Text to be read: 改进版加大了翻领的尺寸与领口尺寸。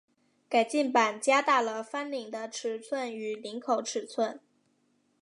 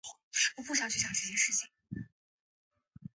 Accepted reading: first